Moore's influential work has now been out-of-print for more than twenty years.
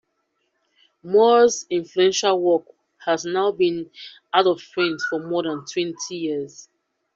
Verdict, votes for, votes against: accepted, 2, 0